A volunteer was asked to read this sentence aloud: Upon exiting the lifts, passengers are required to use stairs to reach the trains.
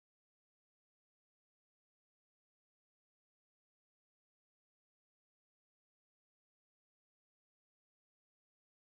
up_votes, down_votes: 0, 2